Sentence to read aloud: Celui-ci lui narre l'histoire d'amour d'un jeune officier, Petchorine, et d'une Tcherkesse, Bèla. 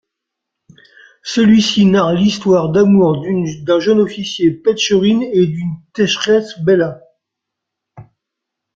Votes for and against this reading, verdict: 1, 2, rejected